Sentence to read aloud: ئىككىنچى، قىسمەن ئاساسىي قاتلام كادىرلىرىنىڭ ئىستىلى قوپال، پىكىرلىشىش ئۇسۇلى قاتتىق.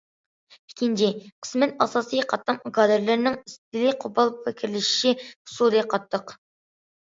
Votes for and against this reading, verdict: 0, 2, rejected